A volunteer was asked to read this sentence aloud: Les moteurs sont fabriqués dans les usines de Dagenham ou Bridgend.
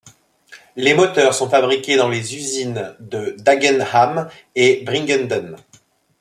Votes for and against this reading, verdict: 1, 2, rejected